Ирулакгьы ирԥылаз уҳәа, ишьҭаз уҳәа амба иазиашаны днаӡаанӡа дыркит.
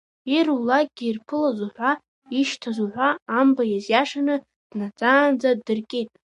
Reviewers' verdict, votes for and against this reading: rejected, 0, 2